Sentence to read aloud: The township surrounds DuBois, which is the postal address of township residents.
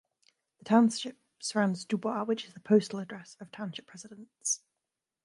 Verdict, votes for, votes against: rejected, 1, 2